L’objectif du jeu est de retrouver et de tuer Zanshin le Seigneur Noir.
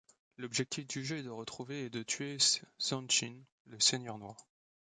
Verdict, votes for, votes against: rejected, 0, 2